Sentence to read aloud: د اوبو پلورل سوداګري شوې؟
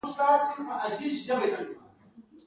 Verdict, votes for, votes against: accepted, 2, 0